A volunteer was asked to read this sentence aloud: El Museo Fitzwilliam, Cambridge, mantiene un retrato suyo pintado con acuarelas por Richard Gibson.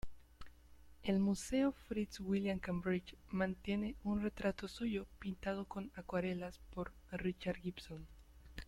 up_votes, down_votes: 2, 1